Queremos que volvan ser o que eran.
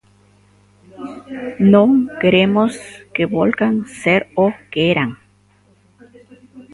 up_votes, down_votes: 0, 2